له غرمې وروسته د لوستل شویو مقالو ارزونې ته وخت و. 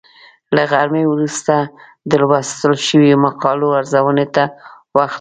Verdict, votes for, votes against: rejected, 0, 2